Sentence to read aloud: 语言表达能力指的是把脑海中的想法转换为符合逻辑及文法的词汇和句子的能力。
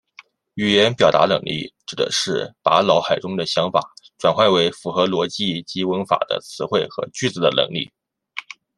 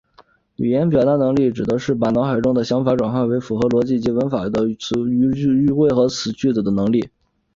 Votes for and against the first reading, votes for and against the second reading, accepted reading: 2, 0, 0, 2, first